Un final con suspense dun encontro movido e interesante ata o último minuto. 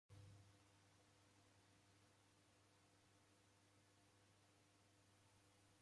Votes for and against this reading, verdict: 0, 2, rejected